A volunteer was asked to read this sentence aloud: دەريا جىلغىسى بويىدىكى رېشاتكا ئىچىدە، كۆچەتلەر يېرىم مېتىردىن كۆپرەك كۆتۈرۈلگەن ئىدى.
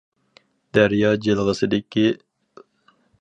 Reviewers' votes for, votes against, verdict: 0, 4, rejected